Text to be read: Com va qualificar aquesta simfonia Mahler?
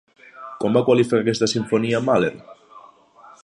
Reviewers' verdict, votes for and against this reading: rejected, 2, 3